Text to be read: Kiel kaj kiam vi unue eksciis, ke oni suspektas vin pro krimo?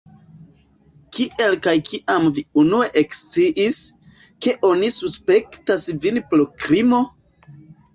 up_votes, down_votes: 0, 2